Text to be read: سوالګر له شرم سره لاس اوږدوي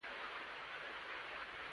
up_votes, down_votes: 1, 2